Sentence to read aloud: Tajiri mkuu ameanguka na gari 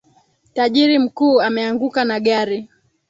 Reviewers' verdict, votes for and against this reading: accepted, 2, 1